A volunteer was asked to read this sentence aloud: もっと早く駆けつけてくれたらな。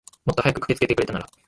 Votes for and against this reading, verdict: 0, 3, rejected